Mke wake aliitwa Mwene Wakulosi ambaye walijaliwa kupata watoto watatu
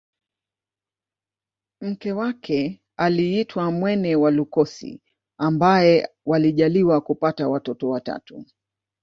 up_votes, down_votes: 1, 2